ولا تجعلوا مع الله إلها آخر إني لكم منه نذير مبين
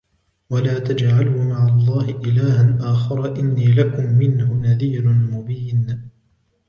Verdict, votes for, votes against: accepted, 2, 0